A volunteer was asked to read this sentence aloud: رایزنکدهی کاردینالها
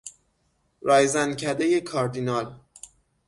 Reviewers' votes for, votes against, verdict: 0, 6, rejected